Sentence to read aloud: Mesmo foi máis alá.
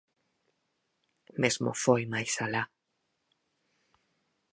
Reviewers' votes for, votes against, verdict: 4, 0, accepted